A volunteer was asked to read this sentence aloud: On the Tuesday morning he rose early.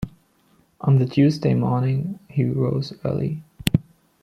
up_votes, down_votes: 2, 1